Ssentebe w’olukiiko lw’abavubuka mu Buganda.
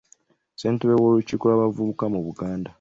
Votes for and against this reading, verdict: 1, 2, rejected